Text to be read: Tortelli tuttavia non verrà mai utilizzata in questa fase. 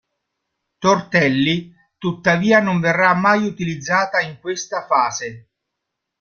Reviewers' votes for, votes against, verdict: 2, 0, accepted